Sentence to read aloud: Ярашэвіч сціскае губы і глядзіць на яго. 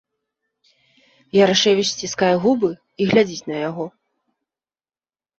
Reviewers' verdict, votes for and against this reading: accepted, 2, 0